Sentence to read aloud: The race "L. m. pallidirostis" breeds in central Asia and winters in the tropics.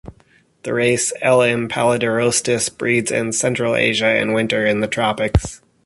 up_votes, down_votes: 2, 0